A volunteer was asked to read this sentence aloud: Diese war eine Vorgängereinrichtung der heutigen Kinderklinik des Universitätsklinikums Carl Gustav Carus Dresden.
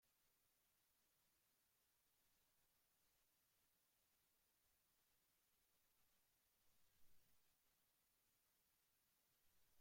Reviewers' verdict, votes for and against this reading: rejected, 0, 2